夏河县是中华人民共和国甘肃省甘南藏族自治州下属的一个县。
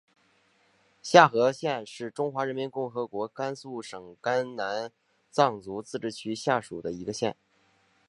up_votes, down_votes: 2, 0